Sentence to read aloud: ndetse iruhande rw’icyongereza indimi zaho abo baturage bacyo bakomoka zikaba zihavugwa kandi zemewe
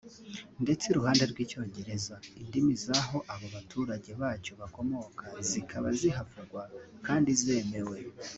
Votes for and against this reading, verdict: 2, 0, accepted